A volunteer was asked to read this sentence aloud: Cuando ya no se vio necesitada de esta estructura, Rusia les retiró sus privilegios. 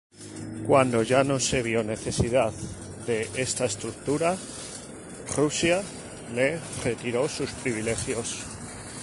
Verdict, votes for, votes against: rejected, 0, 2